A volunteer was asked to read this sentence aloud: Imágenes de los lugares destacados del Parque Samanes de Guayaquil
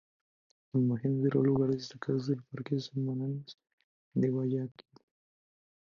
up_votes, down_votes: 0, 2